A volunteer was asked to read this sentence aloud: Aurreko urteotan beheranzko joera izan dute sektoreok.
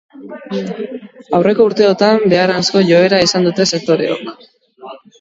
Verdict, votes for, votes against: rejected, 0, 2